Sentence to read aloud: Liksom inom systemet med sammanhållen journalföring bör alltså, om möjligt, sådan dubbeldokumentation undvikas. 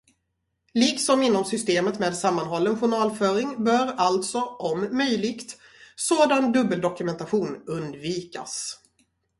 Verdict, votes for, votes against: rejected, 0, 2